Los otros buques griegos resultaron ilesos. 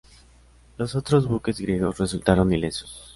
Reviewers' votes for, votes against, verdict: 2, 0, accepted